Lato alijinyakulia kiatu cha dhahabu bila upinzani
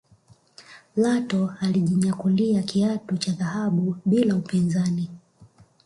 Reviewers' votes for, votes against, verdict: 1, 2, rejected